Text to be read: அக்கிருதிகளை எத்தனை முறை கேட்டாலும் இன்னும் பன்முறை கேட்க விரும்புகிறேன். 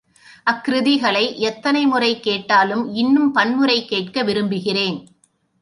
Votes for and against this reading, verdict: 3, 0, accepted